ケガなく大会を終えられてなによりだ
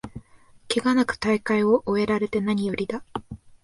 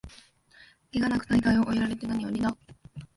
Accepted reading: first